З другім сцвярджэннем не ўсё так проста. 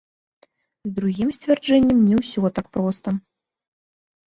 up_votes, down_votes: 2, 1